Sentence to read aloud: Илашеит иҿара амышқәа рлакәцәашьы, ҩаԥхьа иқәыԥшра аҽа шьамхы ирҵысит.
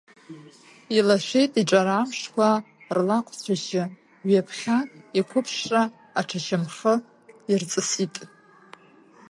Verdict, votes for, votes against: rejected, 0, 2